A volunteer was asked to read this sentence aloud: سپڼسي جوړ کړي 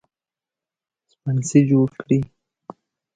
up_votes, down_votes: 2, 0